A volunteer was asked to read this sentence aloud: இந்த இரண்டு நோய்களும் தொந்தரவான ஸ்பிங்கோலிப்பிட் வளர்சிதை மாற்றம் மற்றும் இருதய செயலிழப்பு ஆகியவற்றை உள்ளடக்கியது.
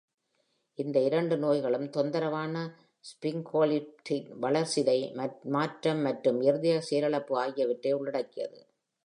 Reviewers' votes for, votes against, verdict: 2, 0, accepted